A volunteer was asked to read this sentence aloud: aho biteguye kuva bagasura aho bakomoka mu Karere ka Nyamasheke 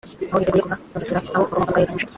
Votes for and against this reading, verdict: 1, 2, rejected